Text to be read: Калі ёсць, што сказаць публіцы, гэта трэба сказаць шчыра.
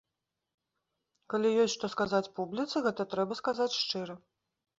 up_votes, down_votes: 2, 0